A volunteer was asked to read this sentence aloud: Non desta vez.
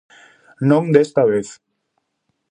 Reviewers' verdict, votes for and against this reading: accepted, 2, 0